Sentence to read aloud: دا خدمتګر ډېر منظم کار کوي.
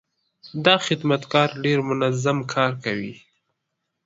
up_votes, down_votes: 2, 0